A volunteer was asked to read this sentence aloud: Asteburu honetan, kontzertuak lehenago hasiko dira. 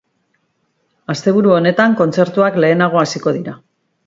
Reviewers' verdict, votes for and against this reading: accepted, 4, 0